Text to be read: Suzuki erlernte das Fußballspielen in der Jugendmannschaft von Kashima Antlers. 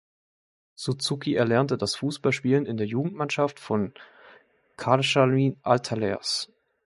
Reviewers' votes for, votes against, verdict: 0, 2, rejected